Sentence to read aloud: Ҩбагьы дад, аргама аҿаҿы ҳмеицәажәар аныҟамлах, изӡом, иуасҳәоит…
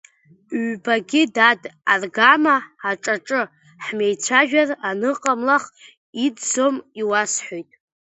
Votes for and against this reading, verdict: 0, 2, rejected